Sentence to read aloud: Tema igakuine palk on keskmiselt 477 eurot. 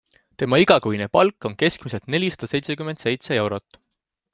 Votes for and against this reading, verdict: 0, 2, rejected